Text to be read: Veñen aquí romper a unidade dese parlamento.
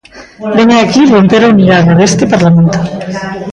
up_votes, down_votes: 0, 2